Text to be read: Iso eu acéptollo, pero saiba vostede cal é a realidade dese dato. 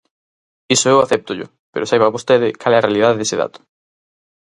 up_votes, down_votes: 4, 0